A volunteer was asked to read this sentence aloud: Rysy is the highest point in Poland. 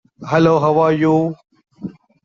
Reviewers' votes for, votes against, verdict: 0, 2, rejected